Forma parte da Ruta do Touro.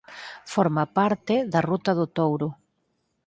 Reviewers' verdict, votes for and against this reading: accepted, 4, 0